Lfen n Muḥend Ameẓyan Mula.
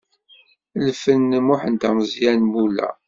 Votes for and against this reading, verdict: 2, 0, accepted